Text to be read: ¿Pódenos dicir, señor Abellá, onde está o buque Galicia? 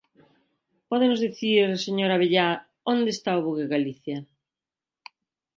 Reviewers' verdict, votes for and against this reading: rejected, 1, 2